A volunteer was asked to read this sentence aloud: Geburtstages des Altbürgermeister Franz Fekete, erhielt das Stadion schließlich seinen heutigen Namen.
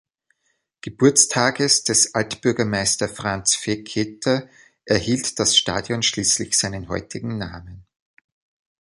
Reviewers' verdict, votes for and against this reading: accepted, 2, 0